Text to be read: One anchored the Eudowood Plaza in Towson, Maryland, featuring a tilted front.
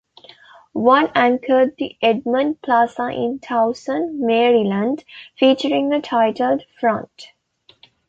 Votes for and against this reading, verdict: 0, 2, rejected